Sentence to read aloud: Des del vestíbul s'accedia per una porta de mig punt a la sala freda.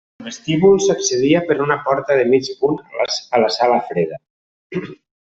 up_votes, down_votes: 0, 2